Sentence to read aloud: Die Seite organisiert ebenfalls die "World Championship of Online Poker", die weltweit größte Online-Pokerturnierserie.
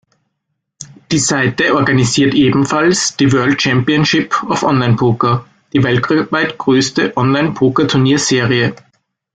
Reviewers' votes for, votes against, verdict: 0, 2, rejected